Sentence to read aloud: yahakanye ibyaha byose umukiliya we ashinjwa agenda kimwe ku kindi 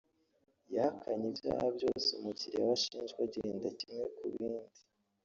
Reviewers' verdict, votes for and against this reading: rejected, 0, 3